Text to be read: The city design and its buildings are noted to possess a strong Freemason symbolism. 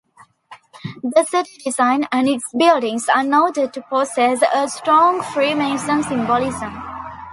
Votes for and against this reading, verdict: 2, 0, accepted